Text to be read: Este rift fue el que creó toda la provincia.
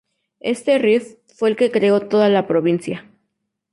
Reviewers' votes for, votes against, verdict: 2, 0, accepted